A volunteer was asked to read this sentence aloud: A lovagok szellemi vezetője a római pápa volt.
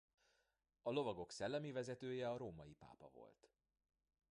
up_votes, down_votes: 0, 2